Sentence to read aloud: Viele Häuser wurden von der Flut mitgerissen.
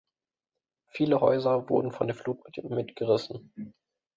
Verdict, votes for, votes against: rejected, 0, 2